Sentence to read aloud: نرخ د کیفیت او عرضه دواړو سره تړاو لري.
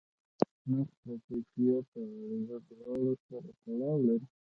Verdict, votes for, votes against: rejected, 1, 2